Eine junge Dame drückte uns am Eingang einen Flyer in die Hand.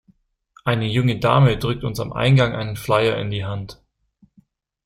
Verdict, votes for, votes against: accepted, 2, 1